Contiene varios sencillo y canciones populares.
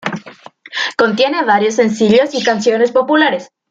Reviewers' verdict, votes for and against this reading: accepted, 2, 0